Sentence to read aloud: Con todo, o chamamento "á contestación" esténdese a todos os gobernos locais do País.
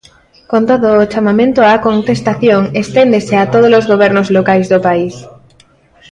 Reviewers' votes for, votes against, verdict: 2, 0, accepted